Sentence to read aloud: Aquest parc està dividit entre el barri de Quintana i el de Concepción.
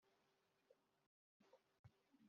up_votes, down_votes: 0, 2